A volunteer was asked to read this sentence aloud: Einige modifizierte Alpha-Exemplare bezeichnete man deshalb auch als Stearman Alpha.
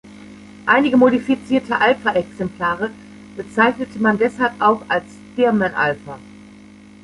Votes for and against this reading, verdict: 1, 2, rejected